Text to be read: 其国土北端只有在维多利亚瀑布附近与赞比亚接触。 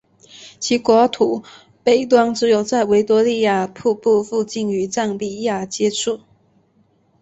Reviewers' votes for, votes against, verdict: 2, 0, accepted